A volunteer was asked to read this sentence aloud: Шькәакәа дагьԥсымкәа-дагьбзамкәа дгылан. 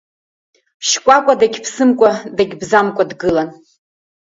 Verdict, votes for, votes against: accepted, 2, 0